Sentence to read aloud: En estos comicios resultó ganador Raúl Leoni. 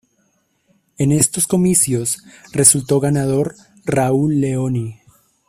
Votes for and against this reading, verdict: 2, 0, accepted